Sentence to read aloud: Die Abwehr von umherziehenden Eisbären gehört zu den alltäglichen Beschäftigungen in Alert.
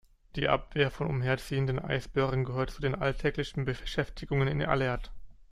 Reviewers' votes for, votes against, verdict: 1, 2, rejected